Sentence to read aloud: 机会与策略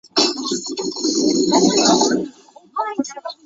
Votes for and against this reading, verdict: 0, 2, rejected